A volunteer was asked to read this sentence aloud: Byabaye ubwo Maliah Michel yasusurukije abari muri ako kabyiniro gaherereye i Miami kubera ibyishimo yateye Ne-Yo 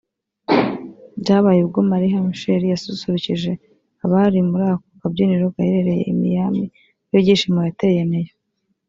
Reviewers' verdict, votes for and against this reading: rejected, 0, 2